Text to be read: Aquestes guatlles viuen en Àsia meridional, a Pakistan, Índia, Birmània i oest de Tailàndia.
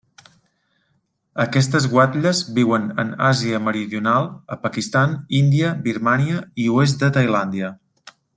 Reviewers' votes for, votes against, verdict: 3, 0, accepted